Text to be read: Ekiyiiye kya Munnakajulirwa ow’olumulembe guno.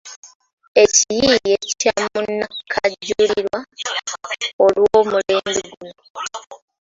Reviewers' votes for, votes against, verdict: 1, 2, rejected